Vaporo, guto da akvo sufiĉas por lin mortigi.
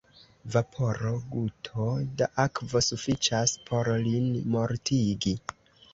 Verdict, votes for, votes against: rejected, 0, 2